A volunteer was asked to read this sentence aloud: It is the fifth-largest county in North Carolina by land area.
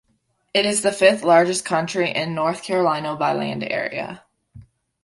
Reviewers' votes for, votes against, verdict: 0, 2, rejected